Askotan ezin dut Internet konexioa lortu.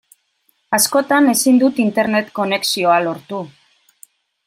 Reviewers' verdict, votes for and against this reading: accepted, 2, 0